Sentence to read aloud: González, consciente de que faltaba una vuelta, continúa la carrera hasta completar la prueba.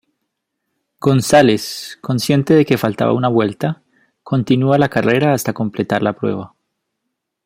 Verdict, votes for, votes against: accepted, 2, 0